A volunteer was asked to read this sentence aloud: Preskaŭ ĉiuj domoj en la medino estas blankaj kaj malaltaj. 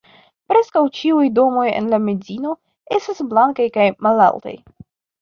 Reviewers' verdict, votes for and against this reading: rejected, 0, 2